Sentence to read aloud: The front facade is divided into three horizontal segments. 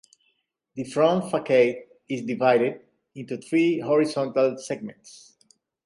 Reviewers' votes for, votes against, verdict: 2, 0, accepted